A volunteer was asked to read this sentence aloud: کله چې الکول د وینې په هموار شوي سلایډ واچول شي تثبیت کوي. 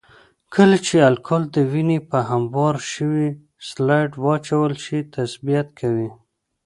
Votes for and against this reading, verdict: 2, 0, accepted